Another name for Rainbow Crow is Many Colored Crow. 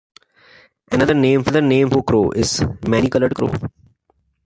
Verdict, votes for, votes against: rejected, 0, 2